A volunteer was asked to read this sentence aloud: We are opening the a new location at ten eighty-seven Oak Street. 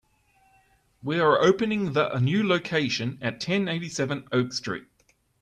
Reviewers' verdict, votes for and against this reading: accepted, 2, 0